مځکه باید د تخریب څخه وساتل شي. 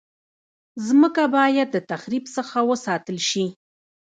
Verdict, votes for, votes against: rejected, 1, 2